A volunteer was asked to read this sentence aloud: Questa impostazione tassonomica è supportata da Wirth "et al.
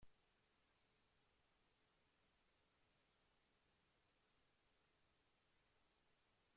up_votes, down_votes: 0, 2